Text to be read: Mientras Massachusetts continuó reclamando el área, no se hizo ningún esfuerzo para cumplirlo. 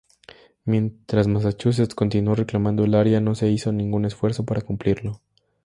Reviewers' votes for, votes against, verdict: 2, 0, accepted